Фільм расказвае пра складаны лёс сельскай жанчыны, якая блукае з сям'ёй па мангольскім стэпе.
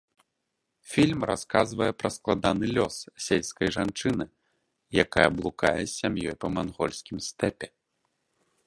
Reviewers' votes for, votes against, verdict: 1, 2, rejected